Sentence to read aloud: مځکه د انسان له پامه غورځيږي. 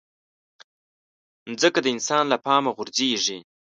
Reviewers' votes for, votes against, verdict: 2, 0, accepted